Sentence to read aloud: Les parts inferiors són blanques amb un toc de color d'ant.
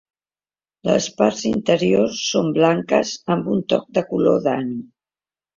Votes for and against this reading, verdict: 1, 2, rejected